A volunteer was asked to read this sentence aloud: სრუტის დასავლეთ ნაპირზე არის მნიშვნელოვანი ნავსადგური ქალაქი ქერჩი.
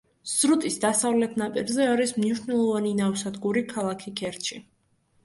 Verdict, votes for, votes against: accepted, 2, 0